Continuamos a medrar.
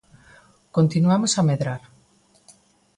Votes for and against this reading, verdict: 2, 0, accepted